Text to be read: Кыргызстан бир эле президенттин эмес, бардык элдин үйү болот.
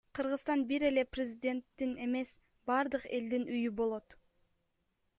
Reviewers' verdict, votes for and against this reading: rejected, 2, 3